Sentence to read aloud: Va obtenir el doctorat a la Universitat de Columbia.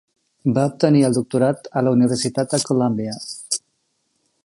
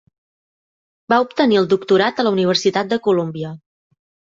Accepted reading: second